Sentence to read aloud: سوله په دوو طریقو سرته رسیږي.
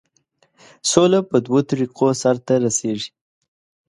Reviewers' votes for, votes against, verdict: 2, 0, accepted